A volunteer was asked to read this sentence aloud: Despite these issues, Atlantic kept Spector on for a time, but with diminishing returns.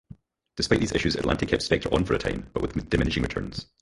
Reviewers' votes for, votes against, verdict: 0, 4, rejected